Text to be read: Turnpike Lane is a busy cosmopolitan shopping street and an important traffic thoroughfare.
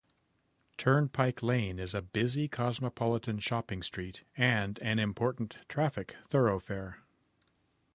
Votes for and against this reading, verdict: 2, 0, accepted